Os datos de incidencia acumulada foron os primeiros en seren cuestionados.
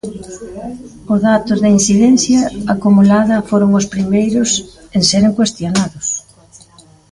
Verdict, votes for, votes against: rejected, 1, 2